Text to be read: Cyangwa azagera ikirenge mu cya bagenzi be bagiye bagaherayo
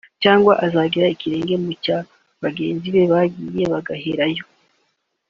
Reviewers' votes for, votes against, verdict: 2, 0, accepted